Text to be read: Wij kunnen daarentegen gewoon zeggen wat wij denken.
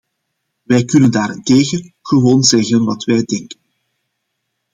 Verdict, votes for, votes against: accepted, 2, 0